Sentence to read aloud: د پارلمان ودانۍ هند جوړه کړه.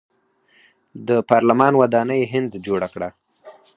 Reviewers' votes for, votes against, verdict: 4, 2, accepted